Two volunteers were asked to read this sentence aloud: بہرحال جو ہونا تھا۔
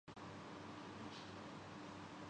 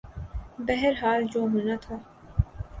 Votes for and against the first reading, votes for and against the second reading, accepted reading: 0, 3, 7, 0, second